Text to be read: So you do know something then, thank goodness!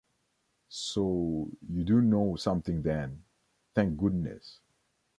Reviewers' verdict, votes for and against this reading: accepted, 2, 1